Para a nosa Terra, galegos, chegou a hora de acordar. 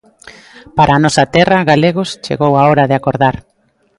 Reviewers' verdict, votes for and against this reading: accepted, 2, 0